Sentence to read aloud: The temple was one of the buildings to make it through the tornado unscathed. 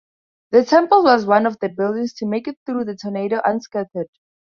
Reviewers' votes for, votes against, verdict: 2, 4, rejected